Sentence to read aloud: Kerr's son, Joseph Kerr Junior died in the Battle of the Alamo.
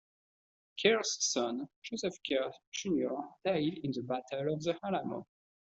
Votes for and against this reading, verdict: 2, 0, accepted